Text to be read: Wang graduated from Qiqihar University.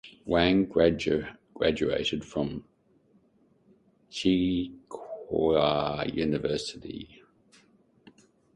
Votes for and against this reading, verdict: 1, 2, rejected